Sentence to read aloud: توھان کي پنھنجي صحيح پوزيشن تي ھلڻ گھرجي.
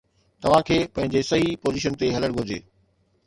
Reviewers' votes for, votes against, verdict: 2, 0, accepted